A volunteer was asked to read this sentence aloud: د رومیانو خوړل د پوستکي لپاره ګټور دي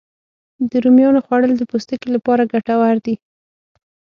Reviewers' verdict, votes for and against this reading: accepted, 6, 0